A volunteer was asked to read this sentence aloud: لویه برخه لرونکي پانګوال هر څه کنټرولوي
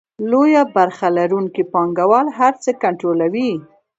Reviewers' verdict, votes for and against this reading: rejected, 0, 2